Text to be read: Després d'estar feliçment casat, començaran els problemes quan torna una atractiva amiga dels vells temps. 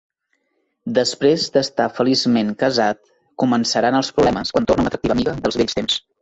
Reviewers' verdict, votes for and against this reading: rejected, 0, 2